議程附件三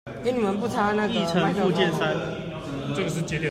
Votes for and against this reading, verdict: 0, 2, rejected